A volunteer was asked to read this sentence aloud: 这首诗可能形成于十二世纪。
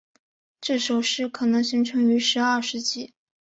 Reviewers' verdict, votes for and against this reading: accepted, 2, 1